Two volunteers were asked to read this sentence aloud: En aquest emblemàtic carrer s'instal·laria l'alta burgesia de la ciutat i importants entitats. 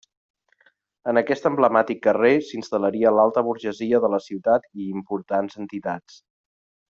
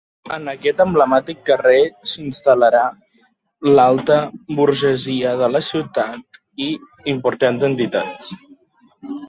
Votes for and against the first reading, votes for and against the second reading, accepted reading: 2, 0, 1, 2, first